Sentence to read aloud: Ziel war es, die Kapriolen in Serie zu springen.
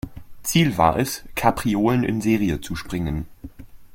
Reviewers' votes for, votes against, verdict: 0, 2, rejected